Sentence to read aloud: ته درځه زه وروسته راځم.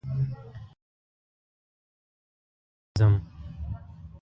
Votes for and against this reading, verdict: 1, 4, rejected